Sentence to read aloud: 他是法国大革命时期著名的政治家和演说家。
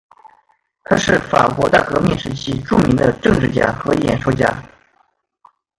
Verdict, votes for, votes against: rejected, 0, 2